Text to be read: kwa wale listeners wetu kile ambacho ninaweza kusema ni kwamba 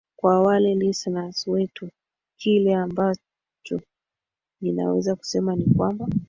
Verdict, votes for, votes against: rejected, 2, 3